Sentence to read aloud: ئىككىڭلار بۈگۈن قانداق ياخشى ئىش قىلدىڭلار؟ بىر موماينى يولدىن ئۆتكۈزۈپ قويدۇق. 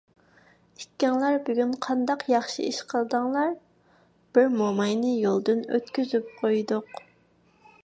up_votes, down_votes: 2, 0